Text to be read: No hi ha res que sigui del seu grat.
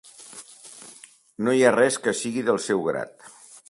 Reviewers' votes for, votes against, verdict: 3, 0, accepted